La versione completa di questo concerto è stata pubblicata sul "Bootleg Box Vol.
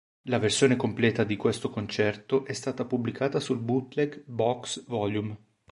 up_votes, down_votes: 1, 2